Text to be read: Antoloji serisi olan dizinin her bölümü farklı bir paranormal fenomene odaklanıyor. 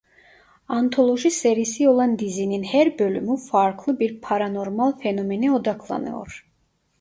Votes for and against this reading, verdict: 2, 1, accepted